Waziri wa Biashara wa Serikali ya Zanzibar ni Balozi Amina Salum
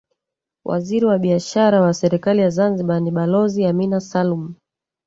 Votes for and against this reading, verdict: 1, 2, rejected